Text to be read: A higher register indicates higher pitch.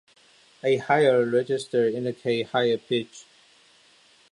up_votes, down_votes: 2, 0